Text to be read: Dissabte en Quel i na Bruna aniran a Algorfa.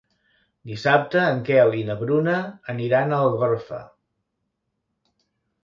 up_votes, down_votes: 2, 0